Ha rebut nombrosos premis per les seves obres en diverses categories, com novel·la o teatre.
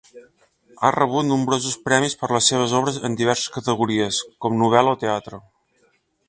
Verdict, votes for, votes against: accepted, 2, 0